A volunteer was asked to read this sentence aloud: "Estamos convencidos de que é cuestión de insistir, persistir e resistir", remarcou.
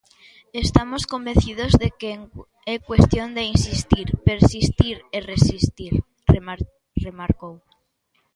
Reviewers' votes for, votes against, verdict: 2, 0, accepted